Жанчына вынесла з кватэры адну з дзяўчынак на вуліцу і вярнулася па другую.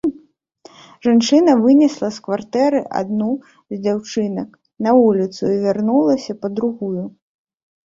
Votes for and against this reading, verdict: 1, 2, rejected